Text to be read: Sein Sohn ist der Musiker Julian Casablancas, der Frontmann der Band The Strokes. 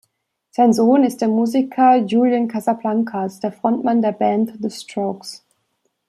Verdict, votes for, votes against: accepted, 2, 0